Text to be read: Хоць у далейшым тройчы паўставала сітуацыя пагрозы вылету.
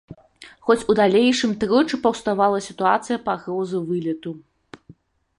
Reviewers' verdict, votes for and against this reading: accepted, 2, 0